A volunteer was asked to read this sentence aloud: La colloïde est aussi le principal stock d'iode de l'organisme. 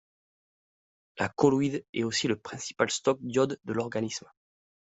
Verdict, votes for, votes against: accepted, 2, 0